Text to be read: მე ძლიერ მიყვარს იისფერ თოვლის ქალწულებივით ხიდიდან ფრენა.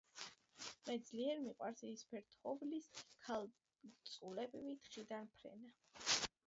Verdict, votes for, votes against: rejected, 1, 2